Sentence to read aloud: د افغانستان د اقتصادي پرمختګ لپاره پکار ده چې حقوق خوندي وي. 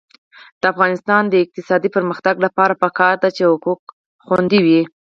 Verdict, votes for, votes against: rejected, 0, 4